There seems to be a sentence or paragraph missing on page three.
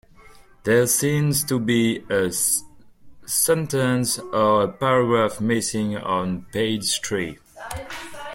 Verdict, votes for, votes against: rejected, 1, 2